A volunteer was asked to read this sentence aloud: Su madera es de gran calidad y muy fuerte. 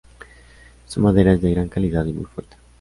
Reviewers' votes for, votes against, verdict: 2, 0, accepted